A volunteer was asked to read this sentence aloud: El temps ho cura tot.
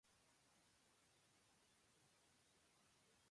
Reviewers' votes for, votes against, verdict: 0, 2, rejected